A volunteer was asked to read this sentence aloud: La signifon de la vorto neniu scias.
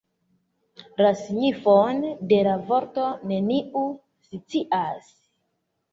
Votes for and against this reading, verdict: 2, 1, accepted